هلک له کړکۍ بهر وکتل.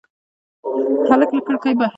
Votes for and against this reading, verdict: 1, 2, rejected